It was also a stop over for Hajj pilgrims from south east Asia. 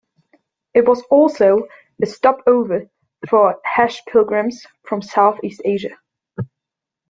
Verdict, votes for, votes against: rejected, 1, 2